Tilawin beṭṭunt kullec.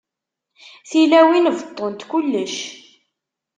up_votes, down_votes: 2, 0